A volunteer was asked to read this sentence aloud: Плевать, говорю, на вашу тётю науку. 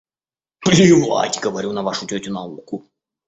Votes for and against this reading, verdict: 2, 0, accepted